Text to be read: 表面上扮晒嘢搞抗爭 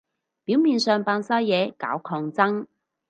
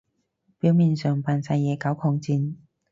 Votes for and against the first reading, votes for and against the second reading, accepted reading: 4, 0, 0, 4, first